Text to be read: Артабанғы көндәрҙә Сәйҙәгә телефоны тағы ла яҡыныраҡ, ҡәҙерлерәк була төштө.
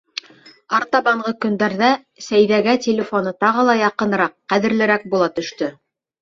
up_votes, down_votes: 2, 0